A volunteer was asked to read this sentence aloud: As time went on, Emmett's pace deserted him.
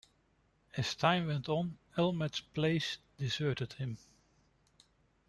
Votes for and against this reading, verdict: 1, 2, rejected